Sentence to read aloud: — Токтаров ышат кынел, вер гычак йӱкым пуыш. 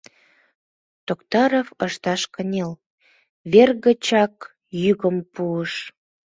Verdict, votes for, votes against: rejected, 1, 2